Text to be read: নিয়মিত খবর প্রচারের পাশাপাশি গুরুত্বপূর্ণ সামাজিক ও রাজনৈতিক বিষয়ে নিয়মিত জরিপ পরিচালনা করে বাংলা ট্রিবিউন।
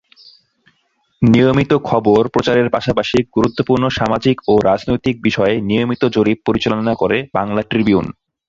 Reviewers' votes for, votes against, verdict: 2, 0, accepted